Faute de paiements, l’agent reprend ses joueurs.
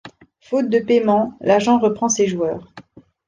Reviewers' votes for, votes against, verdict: 3, 0, accepted